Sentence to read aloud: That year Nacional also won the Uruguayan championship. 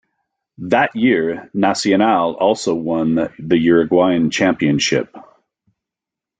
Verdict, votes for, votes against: rejected, 0, 2